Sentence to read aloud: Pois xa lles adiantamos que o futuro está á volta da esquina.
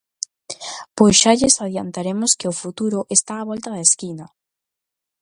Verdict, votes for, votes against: rejected, 0, 2